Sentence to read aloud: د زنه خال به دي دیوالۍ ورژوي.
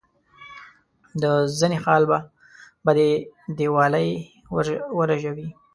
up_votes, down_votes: 2, 0